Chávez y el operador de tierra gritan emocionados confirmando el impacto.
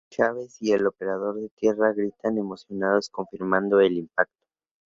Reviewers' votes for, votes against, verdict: 4, 2, accepted